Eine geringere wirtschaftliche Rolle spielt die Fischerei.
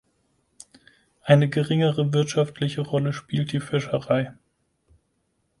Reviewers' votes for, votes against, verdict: 4, 0, accepted